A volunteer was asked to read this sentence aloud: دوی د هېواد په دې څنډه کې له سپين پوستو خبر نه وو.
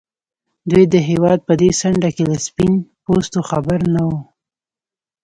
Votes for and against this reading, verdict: 1, 2, rejected